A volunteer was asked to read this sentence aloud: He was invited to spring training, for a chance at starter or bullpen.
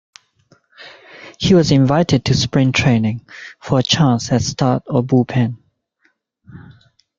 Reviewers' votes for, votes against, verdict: 0, 2, rejected